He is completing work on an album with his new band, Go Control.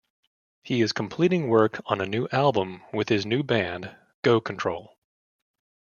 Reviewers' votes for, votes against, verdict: 1, 2, rejected